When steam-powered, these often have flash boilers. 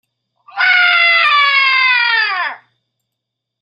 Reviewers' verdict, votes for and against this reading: rejected, 0, 2